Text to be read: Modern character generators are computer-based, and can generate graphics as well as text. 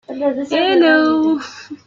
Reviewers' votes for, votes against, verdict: 0, 2, rejected